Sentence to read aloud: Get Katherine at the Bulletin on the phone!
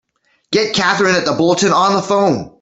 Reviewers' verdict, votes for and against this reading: accepted, 2, 0